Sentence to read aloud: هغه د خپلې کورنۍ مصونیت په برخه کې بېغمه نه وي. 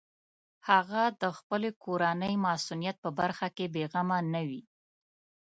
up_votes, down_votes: 2, 0